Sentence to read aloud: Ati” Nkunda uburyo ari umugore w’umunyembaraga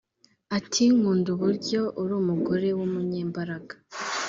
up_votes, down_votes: 0, 2